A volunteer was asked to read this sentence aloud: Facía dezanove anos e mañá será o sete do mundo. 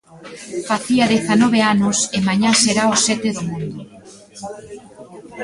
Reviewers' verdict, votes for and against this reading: rejected, 1, 2